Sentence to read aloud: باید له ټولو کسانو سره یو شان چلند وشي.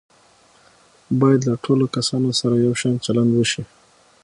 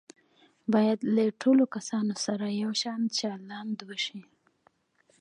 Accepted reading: first